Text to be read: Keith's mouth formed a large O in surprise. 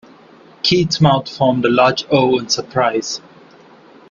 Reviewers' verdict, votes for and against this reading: accepted, 2, 0